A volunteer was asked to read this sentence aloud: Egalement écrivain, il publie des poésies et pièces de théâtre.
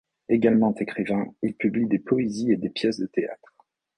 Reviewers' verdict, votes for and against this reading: rejected, 0, 2